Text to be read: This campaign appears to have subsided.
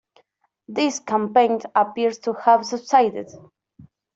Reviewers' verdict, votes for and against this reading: accepted, 2, 1